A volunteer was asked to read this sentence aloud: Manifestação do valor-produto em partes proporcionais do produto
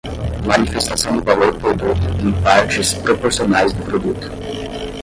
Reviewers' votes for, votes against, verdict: 0, 10, rejected